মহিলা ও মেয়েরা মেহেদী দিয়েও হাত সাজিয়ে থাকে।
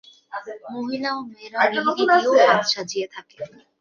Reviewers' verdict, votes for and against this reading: accepted, 2, 0